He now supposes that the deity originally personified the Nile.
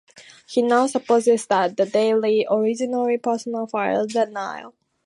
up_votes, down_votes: 0, 2